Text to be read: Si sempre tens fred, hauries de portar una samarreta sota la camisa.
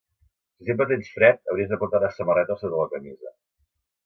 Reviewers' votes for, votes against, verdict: 0, 2, rejected